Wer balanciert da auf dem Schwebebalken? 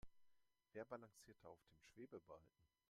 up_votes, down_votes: 1, 2